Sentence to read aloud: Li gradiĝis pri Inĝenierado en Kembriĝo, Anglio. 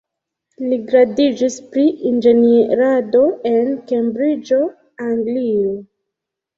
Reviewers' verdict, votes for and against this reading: accepted, 2, 1